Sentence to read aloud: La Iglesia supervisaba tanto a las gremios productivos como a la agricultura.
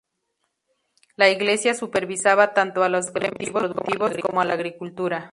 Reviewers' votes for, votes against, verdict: 2, 2, rejected